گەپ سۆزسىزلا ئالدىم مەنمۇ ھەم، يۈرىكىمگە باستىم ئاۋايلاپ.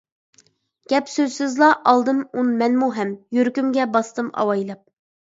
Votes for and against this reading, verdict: 0, 2, rejected